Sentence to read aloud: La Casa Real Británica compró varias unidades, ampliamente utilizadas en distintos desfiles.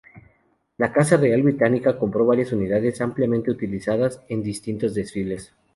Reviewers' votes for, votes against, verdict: 2, 0, accepted